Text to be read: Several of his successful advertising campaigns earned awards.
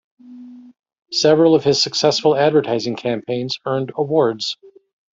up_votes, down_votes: 0, 2